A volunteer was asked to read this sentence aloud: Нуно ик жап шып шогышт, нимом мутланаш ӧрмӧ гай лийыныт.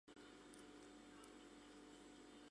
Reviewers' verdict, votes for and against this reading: rejected, 0, 2